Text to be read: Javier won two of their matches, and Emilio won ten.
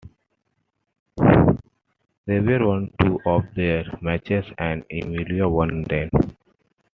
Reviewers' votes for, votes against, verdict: 1, 2, rejected